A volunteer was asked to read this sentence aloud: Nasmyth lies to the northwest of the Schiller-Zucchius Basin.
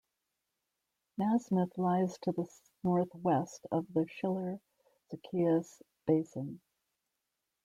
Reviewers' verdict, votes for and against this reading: rejected, 0, 2